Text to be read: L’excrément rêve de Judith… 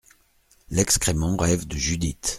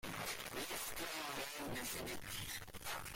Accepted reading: first